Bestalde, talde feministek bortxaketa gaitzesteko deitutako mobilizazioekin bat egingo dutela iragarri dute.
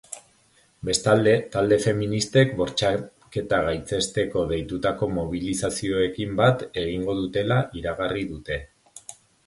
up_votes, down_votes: 1, 2